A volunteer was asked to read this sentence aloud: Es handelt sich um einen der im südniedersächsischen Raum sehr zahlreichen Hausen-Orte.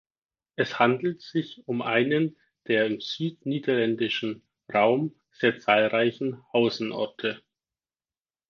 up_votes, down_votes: 0, 4